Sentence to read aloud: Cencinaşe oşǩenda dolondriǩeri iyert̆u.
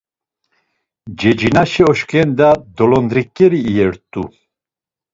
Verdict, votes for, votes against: rejected, 1, 2